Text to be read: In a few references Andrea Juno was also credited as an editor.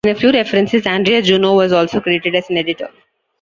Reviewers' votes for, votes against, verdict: 1, 2, rejected